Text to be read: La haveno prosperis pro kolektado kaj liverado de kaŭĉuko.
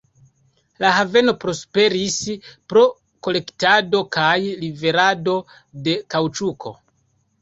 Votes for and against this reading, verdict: 2, 0, accepted